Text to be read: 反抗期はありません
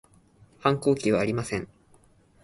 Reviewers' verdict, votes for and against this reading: accepted, 2, 0